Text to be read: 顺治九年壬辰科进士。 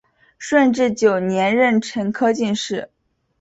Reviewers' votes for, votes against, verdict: 2, 0, accepted